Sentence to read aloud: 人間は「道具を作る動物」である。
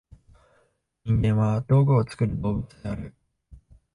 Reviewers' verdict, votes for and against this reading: accepted, 2, 0